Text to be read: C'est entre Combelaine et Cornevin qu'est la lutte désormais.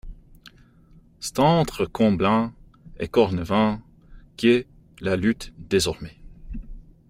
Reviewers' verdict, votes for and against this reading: rejected, 1, 2